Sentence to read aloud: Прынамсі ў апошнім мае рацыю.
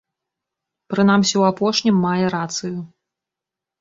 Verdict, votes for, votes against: accepted, 2, 0